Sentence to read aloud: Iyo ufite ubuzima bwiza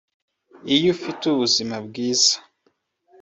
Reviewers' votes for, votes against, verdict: 2, 1, accepted